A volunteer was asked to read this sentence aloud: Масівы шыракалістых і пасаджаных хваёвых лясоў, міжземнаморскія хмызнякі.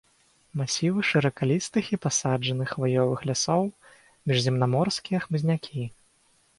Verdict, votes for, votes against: accepted, 4, 0